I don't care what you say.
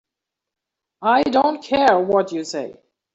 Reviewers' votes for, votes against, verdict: 2, 0, accepted